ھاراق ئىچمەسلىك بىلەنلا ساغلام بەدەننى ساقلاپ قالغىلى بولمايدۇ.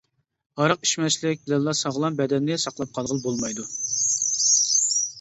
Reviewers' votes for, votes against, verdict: 0, 2, rejected